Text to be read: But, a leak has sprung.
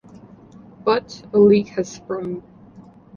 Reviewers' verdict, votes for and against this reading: accepted, 2, 0